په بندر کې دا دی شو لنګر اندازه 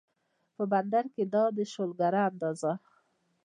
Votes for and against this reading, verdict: 2, 1, accepted